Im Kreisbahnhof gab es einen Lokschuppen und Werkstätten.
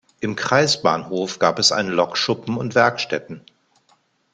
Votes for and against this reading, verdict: 2, 0, accepted